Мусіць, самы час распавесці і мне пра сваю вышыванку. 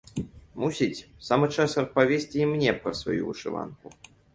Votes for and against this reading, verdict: 2, 0, accepted